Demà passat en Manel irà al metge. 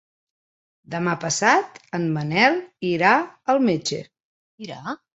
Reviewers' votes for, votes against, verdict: 0, 4, rejected